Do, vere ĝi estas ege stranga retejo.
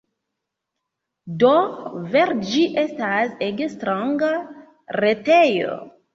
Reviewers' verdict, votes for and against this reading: accepted, 2, 1